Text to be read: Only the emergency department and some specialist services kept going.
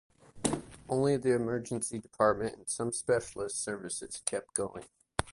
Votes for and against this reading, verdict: 0, 2, rejected